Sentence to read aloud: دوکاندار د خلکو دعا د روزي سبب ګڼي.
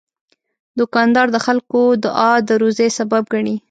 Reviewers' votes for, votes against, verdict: 2, 1, accepted